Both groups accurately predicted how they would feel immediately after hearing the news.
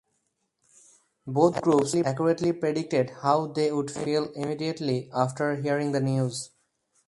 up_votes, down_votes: 0, 4